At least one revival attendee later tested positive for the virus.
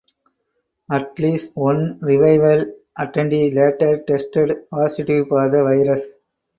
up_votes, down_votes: 4, 2